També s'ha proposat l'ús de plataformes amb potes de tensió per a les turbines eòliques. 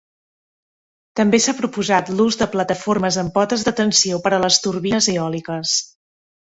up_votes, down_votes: 2, 0